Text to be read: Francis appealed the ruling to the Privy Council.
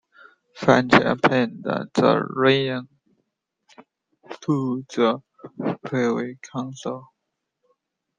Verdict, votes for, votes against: rejected, 0, 2